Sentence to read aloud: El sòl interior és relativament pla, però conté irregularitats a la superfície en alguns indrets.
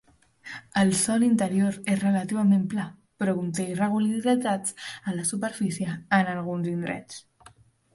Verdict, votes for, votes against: rejected, 1, 2